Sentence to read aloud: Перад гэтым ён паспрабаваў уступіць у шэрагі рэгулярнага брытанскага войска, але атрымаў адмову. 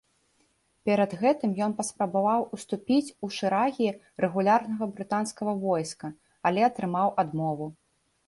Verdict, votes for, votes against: rejected, 0, 2